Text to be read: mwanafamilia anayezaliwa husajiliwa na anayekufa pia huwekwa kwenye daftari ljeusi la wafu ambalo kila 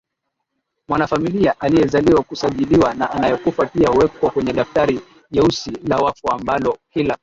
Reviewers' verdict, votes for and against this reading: accepted, 2, 0